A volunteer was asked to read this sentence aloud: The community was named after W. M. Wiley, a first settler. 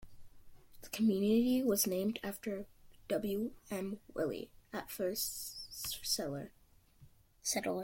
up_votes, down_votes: 0, 2